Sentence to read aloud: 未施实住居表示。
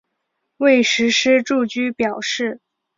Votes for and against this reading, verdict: 5, 1, accepted